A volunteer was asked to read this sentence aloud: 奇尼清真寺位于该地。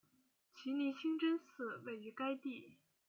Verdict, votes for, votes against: accepted, 2, 0